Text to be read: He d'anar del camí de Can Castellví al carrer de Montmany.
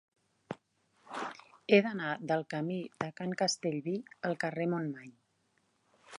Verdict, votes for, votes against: rejected, 0, 2